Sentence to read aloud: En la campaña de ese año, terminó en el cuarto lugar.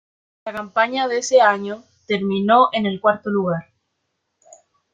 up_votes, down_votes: 1, 2